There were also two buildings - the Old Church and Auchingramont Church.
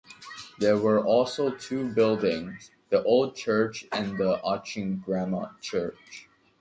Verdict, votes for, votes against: rejected, 0, 2